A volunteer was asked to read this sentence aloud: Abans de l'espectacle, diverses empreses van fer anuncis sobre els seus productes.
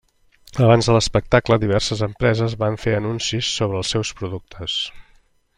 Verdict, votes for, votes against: accepted, 3, 0